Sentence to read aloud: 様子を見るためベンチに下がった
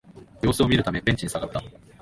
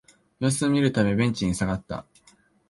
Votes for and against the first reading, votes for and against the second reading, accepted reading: 1, 2, 2, 0, second